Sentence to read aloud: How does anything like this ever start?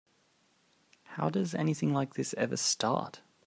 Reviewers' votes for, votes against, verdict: 4, 0, accepted